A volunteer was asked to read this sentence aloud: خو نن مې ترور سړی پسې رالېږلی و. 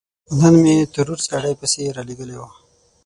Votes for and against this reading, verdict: 3, 6, rejected